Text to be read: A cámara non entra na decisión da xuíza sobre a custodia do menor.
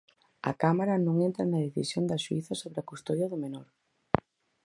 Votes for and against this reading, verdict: 4, 0, accepted